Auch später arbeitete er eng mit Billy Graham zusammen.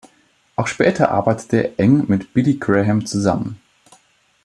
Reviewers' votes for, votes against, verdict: 1, 2, rejected